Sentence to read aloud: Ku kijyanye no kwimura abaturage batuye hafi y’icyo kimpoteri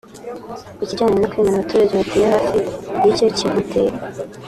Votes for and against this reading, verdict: 2, 0, accepted